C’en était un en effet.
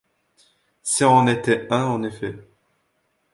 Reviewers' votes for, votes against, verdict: 1, 2, rejected